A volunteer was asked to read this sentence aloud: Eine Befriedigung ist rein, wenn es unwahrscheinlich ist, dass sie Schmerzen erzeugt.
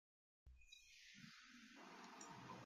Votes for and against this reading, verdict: 0, 2, rejected